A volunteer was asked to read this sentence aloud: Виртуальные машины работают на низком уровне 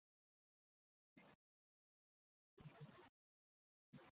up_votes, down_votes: 0, 2